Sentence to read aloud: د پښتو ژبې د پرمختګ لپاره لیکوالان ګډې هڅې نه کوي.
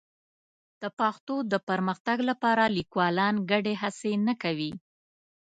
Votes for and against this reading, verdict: 2, 0, accepted